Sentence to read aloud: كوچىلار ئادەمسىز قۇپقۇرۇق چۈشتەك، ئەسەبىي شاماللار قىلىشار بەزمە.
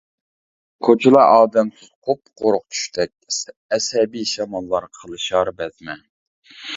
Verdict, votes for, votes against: rejected, 0, 2